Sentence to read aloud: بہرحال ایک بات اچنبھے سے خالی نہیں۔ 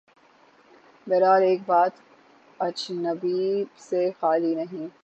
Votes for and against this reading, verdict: 3, 6, rejected